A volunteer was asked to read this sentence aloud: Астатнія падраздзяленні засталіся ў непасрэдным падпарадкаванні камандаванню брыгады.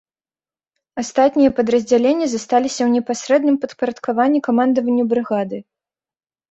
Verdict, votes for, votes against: rejected, 2, 3